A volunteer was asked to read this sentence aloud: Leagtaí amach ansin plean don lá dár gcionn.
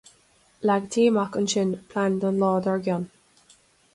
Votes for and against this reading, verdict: 2, 0, accepted